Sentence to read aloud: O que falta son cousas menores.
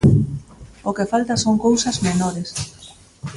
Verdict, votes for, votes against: accepted, 2, 0